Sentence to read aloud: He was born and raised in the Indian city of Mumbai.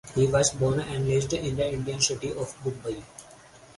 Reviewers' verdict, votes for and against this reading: accepted, 4, 2